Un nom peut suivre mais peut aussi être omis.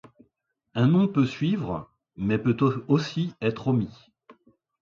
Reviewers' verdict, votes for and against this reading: rejected, 0, 2